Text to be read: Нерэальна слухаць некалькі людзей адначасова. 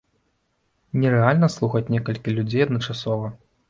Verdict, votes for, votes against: accepted, 2, 1